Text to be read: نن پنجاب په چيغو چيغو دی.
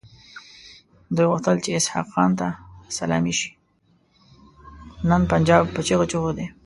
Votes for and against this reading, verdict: 1, 2, rejected